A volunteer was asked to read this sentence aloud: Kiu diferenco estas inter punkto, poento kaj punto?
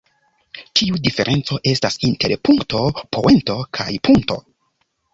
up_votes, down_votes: 0, 2